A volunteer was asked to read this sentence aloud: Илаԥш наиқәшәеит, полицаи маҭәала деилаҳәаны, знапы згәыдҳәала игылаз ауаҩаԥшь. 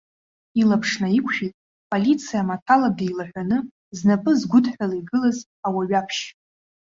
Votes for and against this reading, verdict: 0, 2, rejected